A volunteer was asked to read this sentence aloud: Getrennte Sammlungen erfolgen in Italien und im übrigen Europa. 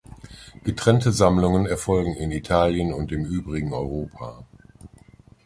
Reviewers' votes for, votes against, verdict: 1, 2, rejected